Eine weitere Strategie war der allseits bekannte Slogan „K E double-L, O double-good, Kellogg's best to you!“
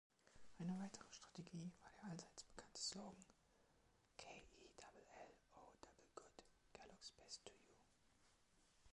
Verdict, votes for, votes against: rejected, 1, 2